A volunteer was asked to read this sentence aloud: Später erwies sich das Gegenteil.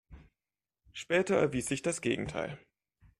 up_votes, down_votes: 2, 0